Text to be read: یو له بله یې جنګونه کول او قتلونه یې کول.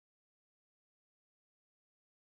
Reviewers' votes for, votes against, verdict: 0, 2, rejected